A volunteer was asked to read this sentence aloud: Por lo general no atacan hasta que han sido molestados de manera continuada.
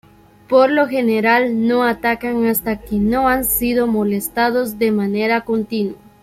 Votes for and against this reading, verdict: 1, 2, rejected